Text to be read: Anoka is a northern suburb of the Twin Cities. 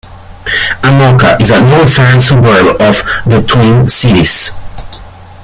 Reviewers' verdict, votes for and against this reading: accepted, 2, 0